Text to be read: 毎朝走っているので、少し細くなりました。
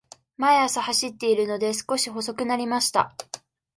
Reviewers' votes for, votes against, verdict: 2, 0, accepted